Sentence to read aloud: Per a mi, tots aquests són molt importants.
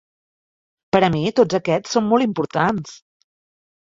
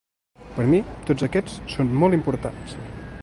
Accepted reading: first